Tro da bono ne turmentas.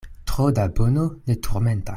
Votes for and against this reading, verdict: 0, 2, rejected